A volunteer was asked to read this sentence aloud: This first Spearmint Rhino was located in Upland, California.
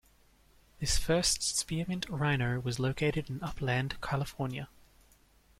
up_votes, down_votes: 2, 0